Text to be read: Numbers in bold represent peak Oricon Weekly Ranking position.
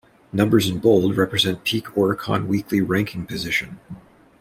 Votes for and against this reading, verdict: 2, 0, accepted